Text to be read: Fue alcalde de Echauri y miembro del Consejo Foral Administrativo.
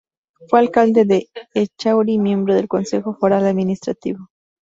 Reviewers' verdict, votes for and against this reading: accepted, 2, 0